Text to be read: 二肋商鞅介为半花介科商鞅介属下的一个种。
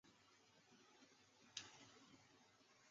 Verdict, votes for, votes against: rejected, 0, 4